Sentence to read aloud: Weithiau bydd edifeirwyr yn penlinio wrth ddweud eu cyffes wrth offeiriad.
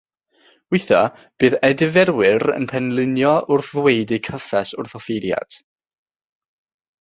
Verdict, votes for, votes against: accepted, 3, 0